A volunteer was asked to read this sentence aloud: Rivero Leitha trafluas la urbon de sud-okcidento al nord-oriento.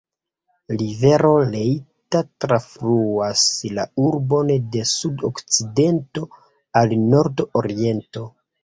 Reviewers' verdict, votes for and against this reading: accepted, 2, 1